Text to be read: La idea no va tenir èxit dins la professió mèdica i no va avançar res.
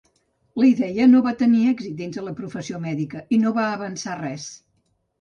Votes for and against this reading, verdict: 0, 2, rejected